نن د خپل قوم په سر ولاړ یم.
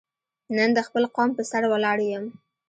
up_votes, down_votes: 2, 0